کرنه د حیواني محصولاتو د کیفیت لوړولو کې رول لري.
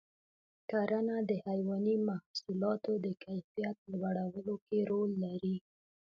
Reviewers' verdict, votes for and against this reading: accepted, 2, 0